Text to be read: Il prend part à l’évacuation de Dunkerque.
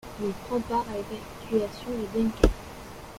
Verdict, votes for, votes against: rejected, 0, 2